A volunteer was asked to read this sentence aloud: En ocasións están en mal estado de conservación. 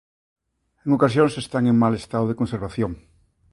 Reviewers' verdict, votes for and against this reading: accepted, 2, 0